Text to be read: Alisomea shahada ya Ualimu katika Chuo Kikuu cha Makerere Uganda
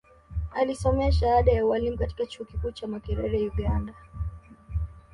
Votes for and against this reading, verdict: 2, 1, accepted